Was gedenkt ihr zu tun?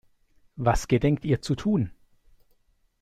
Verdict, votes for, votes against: accepted, 2, 0